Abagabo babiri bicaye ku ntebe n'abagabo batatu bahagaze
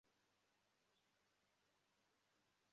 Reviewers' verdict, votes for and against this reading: rejected, 0, 2